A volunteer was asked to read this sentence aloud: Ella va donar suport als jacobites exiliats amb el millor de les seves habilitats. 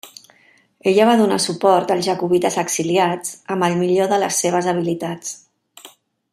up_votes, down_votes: 3, 0